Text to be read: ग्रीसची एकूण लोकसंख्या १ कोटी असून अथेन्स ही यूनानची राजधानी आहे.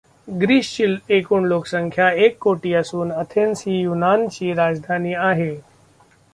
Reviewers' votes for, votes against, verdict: 0, 2, rejected